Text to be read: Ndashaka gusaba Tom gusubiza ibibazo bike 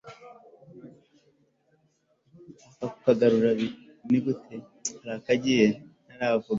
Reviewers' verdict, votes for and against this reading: rejected, 1, 2